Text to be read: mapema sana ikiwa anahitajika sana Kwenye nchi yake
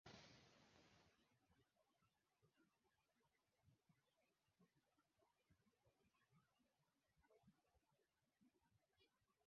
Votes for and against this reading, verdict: 0, 2, rejected